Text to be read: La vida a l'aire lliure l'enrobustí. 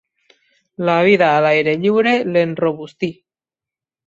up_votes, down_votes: 3, 0